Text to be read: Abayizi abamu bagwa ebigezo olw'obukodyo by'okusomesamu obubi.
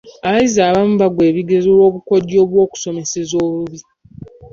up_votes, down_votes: 0, 2